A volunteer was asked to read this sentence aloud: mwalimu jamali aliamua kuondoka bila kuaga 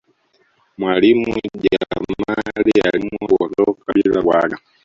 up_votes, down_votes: 0, 2